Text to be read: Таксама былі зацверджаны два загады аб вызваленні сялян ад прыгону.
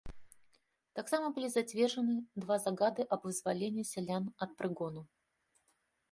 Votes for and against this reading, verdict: 2, 0, accepted